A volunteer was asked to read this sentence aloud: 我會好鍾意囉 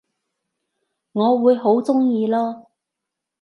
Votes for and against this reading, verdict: 2, 0, accepted